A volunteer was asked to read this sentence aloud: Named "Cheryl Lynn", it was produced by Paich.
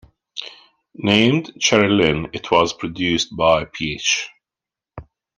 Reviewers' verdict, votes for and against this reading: accepted, 2, 0